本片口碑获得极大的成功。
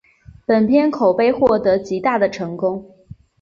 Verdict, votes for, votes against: accepted, 7, 0